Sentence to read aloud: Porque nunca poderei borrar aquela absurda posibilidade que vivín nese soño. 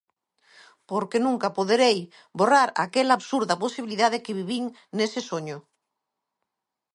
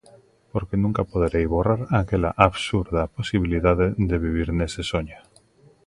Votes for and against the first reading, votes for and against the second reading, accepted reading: 2, 0, 0, 2, first